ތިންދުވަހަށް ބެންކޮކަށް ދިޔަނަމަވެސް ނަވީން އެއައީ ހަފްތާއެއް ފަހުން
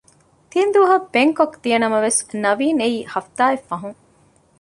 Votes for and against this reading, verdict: 2, 0, accepted